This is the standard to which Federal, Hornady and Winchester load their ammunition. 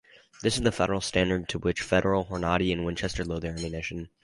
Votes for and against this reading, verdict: 2, 2, rejected